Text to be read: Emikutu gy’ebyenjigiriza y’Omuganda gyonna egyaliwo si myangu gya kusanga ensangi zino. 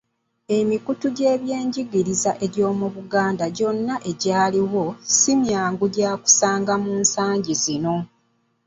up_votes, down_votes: 0, 2